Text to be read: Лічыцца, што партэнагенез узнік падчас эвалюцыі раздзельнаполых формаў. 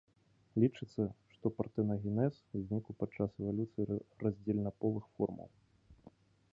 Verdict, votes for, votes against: accepted, 2, 0